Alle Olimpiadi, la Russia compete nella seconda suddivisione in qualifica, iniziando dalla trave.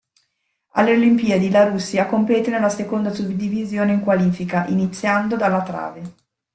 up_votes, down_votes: 2, 0